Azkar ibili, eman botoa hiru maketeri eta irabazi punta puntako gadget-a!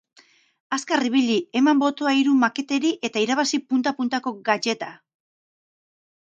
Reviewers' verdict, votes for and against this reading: rejected, 2, 2